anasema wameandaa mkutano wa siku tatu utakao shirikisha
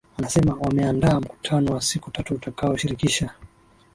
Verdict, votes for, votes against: accepted, 2, 1